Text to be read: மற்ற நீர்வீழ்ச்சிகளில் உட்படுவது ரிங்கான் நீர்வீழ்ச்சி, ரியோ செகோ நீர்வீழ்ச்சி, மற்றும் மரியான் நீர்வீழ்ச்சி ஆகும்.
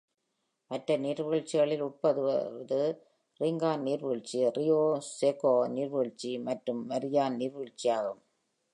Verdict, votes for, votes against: rejected, 1, 2